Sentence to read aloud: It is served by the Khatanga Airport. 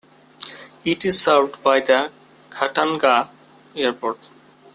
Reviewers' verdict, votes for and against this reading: accepted, 2, 1